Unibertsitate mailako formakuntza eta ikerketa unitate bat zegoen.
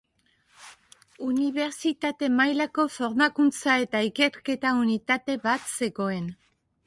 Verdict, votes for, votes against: accepted, 2, 0